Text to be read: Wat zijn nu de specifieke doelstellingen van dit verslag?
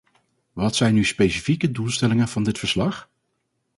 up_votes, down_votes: 0, 2